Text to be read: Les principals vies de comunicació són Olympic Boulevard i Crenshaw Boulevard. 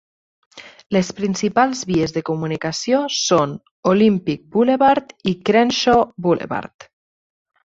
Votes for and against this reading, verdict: 4, 2, accepted